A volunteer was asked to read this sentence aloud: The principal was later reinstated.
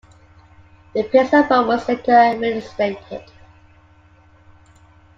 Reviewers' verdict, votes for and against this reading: accepted, 2, 1